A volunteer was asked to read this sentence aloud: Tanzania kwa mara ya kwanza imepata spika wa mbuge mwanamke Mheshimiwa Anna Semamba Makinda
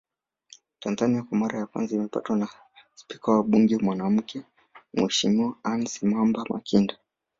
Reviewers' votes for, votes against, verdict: 1, 2, rejected